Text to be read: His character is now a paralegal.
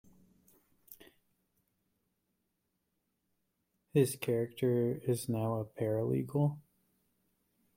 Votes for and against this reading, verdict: 2, 0, accepted